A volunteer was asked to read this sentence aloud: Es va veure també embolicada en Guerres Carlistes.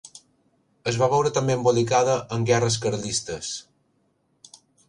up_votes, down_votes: 2, 0